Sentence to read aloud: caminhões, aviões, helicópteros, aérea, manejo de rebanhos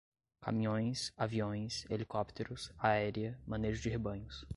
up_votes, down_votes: 2, 0